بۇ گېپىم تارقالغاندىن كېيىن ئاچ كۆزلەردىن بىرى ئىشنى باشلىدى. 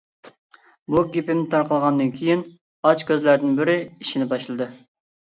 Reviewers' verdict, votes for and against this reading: accepted, 2, 0